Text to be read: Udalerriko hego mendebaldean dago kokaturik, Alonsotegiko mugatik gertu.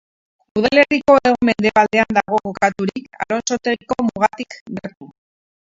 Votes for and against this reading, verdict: 0, 4, rejected